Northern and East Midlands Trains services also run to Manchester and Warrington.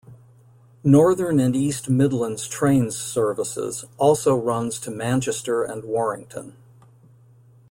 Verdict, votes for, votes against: rejected, 0, 2